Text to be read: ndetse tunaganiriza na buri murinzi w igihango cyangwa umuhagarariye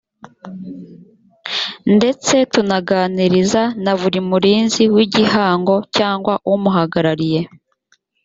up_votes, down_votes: 2, 0